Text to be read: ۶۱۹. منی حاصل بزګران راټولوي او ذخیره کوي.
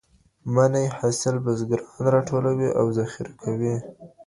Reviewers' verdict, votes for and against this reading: rejected, 0, 2